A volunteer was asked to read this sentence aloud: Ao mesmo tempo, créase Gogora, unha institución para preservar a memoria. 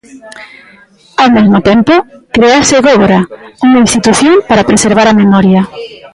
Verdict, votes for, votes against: rejected, 0, 3